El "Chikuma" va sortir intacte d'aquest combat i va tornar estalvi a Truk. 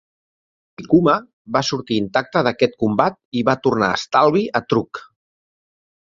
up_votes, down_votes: 2, 3